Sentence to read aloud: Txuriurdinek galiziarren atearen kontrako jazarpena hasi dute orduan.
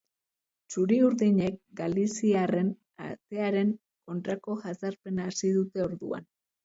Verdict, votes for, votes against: accepted, 2, 0